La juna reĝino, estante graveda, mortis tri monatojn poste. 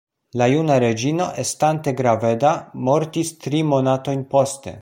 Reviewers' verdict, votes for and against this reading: accepted, 2, 1